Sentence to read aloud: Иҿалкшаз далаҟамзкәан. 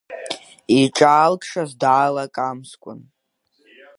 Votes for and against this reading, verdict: 1, 2, rejected